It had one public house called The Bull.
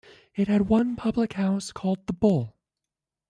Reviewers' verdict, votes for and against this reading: rejected, 1, 2